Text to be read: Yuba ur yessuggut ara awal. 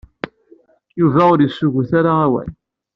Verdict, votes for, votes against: accepted, 2, 0